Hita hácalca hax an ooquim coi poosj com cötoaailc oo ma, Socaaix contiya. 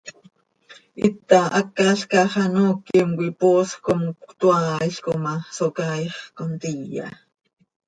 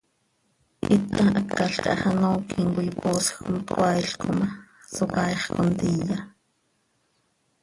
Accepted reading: first